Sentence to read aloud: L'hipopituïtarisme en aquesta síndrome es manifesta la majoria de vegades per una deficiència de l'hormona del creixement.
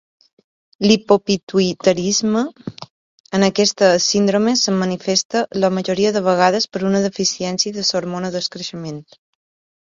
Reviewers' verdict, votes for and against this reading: rejected, 2, 4